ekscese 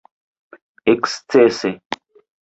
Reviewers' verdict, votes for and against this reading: accepted, 2, 1